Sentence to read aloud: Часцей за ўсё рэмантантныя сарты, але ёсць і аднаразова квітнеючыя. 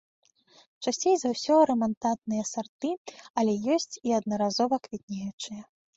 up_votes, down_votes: 1, 2